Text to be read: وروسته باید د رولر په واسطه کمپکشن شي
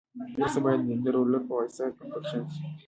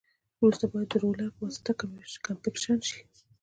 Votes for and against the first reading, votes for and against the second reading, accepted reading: 0, 2, 2, 1, second